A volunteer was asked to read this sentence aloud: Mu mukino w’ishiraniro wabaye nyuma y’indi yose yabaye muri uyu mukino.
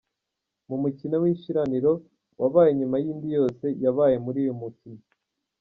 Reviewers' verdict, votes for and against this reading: accepted, 2, 0